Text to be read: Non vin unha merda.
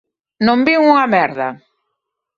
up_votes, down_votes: 2, 0